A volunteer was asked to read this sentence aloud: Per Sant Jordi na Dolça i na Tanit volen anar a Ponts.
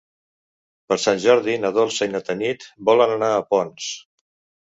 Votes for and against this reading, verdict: 3, 0, accepted